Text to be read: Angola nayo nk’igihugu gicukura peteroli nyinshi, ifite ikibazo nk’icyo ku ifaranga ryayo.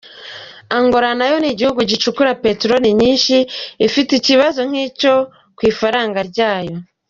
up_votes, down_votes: 2, 0